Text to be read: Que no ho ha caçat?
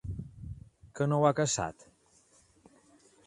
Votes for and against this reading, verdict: 3, 0, accepted